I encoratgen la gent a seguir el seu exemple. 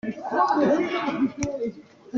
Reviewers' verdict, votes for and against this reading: rejected, 0, 2